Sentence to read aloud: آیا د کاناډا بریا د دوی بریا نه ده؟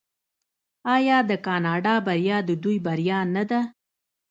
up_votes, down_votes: 2, 0